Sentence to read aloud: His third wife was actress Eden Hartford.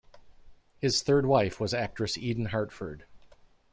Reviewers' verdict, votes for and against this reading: rejected, 1, 2